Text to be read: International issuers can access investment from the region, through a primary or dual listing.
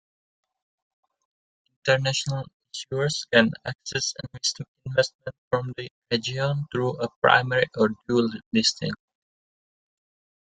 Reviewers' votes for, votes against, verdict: 0, 2, rejected